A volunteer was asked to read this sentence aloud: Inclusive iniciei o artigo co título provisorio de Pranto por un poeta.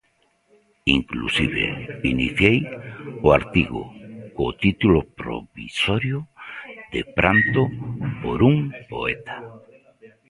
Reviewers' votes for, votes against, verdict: 1, 2, rejected